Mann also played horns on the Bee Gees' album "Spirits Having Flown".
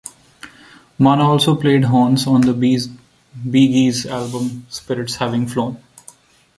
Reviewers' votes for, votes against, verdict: 1, 2, rejected